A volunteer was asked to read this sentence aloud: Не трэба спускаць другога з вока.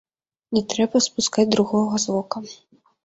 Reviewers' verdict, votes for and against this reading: accepted, 2, 0